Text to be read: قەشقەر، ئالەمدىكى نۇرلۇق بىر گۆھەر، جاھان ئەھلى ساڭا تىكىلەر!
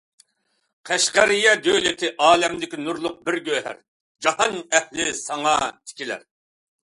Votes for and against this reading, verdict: 0, 2, rejected